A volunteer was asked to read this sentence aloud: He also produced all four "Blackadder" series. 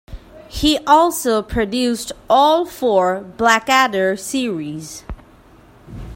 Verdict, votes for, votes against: accepted, 2, 0